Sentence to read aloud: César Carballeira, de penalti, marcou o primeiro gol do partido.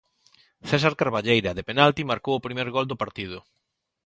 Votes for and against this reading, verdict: 1, 2, rejected